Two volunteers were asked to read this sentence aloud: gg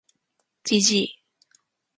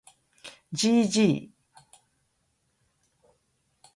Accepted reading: second